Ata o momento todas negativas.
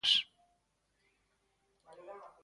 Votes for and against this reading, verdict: 0, 2, rejected